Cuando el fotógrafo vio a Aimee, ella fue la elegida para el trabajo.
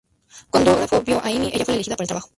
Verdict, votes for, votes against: rejected, 0, 2